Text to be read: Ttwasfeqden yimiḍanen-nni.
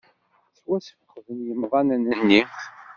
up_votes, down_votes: 1, 2